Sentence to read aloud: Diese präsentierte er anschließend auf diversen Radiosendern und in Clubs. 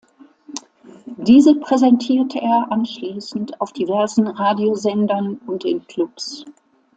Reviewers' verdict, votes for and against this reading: accepted, 3, 0